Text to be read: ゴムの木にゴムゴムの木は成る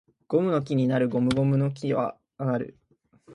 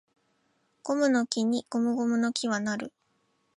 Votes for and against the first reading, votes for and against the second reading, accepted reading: 0, 2, 2, 0, second